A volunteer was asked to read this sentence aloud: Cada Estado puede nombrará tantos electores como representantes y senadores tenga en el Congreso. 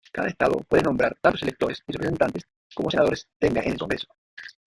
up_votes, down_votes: 0, 2